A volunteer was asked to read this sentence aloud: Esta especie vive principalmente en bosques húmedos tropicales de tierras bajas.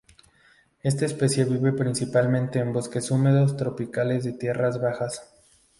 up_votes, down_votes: 2, 0